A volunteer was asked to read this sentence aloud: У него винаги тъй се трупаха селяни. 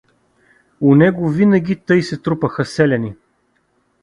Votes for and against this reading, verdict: 2, 0, accepted